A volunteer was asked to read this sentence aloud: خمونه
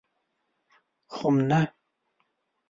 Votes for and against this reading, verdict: 1, 2, rejected